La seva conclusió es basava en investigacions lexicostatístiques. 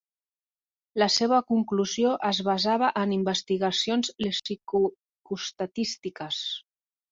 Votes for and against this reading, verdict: 0, 2, rejected